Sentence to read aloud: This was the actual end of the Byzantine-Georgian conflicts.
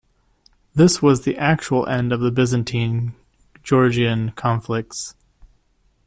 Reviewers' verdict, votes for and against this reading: accepted, 2, 0